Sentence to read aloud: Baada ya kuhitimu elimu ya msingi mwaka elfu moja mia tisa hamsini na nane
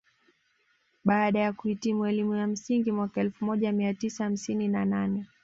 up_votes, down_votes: 1, 2